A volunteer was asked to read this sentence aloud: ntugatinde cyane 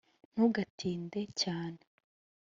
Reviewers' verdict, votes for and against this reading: accepted, 2, 0